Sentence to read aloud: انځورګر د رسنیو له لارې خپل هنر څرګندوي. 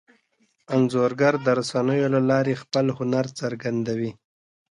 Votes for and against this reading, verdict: 2, 0, accepted